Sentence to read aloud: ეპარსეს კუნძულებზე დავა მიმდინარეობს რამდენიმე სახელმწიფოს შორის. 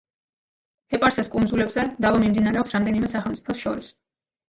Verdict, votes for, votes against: rejected, 1, 2